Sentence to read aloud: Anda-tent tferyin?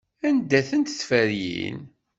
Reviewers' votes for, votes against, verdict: 2, 0, accepted